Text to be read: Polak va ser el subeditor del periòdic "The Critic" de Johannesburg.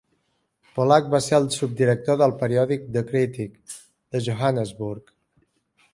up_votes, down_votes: 2, 1